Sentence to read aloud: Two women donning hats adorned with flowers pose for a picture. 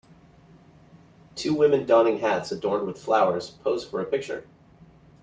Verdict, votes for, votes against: accepted, 2, 0